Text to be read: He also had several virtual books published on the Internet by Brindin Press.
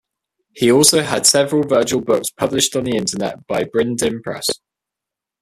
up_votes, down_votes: 2, 1